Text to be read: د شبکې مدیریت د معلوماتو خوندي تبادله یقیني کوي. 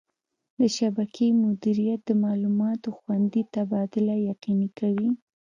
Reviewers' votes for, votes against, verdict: 2, 1, accepted